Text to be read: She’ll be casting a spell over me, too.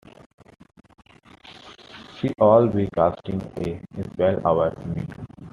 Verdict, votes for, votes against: rejected, 0, 2